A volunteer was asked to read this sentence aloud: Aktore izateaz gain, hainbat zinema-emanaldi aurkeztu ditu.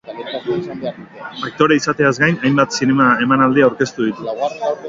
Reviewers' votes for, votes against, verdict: 0, 2, rejected